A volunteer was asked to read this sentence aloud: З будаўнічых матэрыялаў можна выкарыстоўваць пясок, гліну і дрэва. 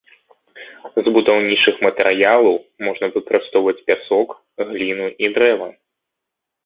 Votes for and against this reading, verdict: 1, 2, rejected